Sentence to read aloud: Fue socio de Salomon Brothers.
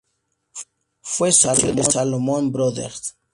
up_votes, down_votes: 0, 2